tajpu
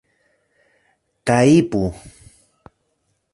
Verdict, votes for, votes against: rejected, 1, 2